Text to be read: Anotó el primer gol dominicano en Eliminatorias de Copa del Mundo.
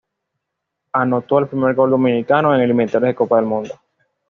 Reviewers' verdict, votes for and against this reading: rejected, 1, 2